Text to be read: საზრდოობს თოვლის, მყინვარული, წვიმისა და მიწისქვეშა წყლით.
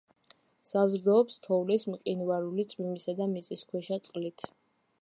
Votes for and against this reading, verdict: 2, 0, accepted